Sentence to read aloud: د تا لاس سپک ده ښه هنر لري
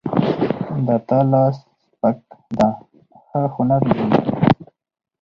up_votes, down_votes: 2, 2